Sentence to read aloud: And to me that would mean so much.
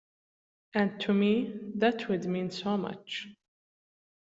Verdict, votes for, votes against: accepted, 2, 0